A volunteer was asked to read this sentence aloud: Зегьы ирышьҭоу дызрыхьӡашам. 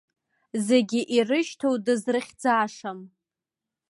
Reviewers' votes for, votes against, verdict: 2, 0, accepted